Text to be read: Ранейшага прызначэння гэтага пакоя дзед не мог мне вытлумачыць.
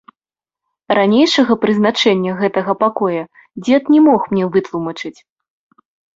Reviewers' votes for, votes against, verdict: 2, 0, accepted